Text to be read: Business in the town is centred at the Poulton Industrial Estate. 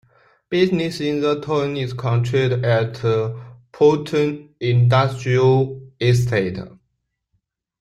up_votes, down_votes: 1, 2